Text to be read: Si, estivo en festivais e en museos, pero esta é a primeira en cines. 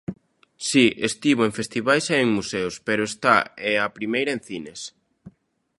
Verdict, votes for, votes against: rejected, 0, 2